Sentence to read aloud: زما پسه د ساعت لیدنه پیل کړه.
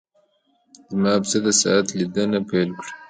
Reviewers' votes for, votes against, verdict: 2, 0, accepted